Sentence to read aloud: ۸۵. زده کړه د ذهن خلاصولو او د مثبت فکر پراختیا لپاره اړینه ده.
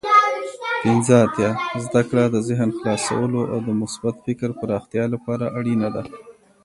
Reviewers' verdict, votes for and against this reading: rejected, 0, 2